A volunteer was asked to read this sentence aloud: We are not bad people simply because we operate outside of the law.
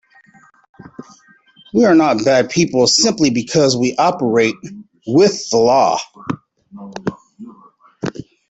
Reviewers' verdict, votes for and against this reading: rejected, 1, 2